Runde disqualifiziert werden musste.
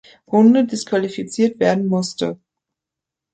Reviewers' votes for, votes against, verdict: 2, 0, accepted